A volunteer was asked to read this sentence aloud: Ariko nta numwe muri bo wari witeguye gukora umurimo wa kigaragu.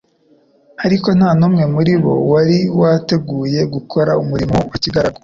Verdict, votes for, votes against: accepted, 2, 0